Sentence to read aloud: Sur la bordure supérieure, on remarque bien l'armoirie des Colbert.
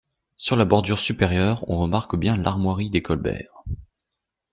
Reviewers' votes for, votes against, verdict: 2, 0, accepted